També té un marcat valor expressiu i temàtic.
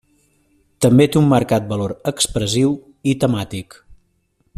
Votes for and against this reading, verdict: 2, 0, accepted